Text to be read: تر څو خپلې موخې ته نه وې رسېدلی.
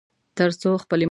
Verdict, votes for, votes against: rejected, 1, 2